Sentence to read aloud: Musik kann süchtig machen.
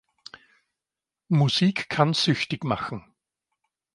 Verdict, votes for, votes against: accepted, 3, 0